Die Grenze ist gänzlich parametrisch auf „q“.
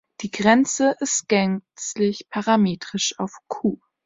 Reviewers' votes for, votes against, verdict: 2, 1, accepted